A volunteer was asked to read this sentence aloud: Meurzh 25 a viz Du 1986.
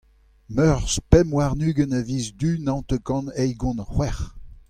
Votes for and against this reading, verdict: 0, 2, rejected